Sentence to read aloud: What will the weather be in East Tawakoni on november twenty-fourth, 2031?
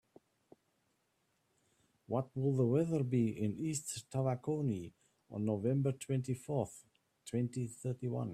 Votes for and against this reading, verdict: 0, 2, rejected